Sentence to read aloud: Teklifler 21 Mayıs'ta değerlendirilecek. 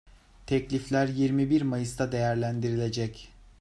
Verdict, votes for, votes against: rejected, 0, 2